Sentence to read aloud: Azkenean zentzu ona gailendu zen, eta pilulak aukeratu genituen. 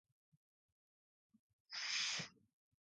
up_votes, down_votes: 0, 8